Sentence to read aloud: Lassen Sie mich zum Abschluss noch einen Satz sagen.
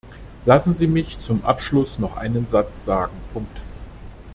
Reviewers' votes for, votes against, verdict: 0, 2, rejected